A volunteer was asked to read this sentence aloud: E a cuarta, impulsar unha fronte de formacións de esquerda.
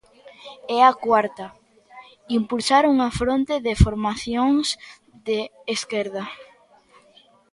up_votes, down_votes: 2, 0